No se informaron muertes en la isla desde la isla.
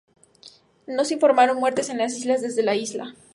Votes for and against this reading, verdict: 2, 2, rejected